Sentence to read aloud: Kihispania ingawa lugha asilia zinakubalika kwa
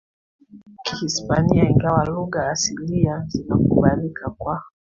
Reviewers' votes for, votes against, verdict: 2, 1, accepted